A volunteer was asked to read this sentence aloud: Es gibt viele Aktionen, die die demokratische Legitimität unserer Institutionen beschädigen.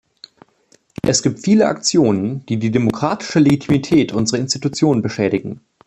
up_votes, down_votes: 2, 0